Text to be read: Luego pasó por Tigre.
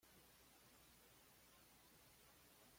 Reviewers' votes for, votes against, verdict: 0, 2, rejected